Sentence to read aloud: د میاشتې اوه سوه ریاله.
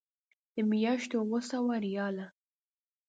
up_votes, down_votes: 2, 0